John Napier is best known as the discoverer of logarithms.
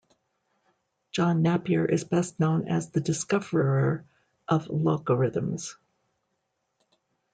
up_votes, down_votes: 1, 2